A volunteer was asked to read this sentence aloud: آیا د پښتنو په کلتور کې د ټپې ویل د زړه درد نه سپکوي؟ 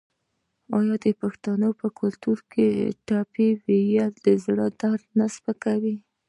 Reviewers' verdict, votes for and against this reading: accepted, 2, 0